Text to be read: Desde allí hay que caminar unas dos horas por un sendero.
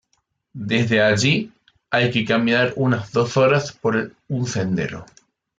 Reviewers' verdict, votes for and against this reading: rejected, 1, 2